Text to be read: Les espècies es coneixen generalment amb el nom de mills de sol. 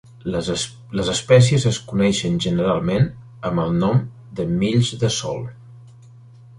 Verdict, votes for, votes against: rejected, 0, 2